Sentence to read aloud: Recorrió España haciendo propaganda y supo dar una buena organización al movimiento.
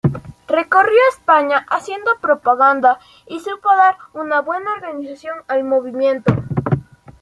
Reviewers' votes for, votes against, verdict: 2, 0, accepted